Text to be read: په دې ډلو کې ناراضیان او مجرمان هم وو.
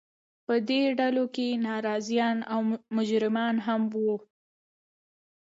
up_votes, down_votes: 2, 0